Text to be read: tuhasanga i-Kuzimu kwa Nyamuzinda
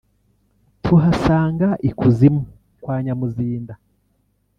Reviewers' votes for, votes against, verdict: 1, 2, rejected